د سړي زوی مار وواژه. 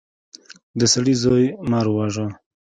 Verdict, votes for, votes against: accepted, 2, 0